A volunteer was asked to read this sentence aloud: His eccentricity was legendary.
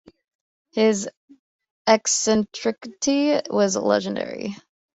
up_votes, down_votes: 1, 2